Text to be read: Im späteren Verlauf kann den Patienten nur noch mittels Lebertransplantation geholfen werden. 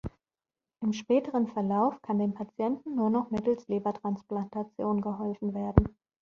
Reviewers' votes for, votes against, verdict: 3, 0, accepted